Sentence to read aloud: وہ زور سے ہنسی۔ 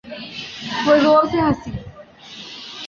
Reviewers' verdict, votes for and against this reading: accepted, 2, 0